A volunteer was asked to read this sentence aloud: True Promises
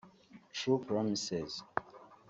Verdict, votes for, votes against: rejected, 0, 2